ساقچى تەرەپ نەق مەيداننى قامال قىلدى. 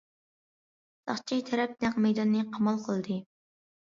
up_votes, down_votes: 2, 0